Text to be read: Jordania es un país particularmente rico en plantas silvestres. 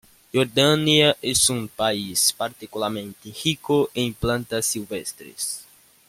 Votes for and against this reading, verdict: 1, 2, rejected